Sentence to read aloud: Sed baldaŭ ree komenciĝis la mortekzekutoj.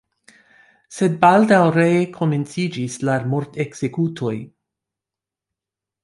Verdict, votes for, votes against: accepted, 2, 1